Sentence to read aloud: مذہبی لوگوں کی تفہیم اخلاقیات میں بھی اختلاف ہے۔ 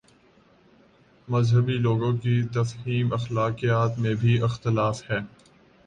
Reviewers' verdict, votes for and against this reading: rejected, 1, 2